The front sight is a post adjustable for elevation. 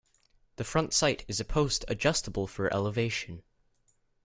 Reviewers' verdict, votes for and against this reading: accepted, 2, 0